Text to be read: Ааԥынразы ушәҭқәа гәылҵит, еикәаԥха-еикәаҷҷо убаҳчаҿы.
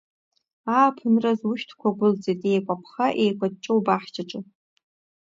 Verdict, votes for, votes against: accepted, 2, 0